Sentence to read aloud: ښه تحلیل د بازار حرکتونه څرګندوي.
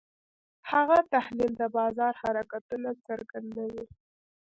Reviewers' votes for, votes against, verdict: 1, 2, rejected